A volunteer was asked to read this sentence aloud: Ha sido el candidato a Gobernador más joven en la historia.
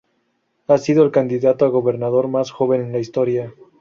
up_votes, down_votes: 0, 2